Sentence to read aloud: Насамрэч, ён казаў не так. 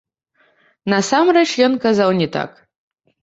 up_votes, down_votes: 1, 2